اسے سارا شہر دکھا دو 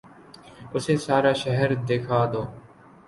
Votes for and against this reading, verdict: 2, 0, accepted